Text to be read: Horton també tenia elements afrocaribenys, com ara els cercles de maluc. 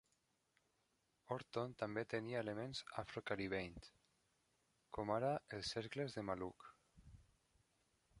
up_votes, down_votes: 1, 2